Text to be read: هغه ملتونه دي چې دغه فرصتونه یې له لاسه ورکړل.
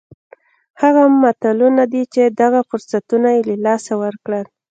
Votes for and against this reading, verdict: 2, 1, accepted